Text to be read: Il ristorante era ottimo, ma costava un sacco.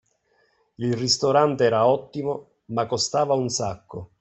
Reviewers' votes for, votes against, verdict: 2, 0, accepted